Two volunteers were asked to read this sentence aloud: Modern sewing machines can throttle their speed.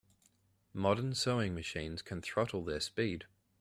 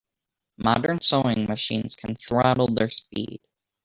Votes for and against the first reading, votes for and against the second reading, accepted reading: 2, 0, 0, 2, first